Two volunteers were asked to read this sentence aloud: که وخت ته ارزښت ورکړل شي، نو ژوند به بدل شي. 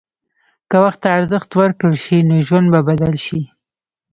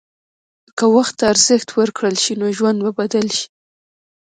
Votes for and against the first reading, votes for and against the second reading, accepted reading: 1, 2, 2, 0, second